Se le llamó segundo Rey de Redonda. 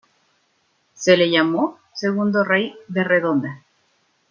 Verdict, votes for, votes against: accepted, 2, 0